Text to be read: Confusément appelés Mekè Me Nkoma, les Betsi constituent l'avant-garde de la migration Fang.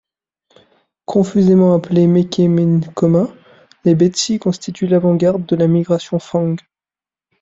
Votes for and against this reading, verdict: 2, 0, accepted